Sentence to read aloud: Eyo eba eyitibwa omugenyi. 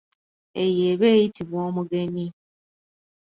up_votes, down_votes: 2, 0